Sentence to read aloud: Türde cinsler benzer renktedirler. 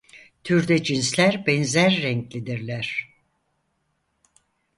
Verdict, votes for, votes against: rejected, 0, 4